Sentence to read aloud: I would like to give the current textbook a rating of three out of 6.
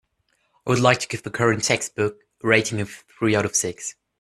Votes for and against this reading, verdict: 0, 2, rejected